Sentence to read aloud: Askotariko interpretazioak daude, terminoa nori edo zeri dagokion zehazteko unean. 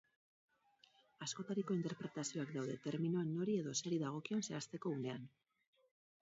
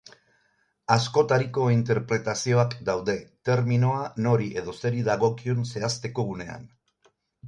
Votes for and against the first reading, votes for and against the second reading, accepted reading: 2, 4, 4, 0, second